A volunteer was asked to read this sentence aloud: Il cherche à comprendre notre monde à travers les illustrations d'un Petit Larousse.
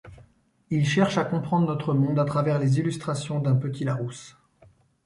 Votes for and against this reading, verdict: 2, 0, accepted